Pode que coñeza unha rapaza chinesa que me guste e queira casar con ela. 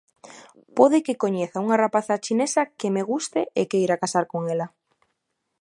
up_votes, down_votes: 2, 0